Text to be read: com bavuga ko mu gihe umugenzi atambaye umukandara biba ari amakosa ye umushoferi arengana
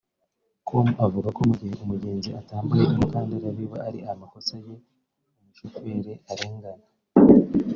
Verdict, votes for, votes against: rejected, 0, 2